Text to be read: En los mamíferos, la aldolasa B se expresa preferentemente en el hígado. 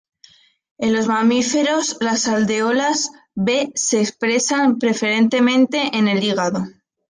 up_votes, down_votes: 1, 2